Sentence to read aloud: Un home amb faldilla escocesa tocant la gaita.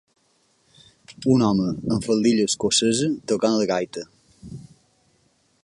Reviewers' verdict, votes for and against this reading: accepted, 2, 0